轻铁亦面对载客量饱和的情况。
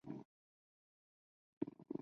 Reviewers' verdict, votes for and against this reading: rejected, 0, 2